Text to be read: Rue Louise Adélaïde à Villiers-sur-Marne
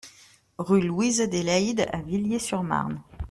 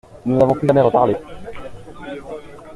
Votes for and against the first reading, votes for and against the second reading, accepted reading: 2, 0, 0, 2, first